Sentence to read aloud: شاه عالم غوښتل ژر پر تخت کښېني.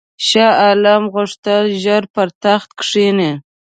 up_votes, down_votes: 2, 0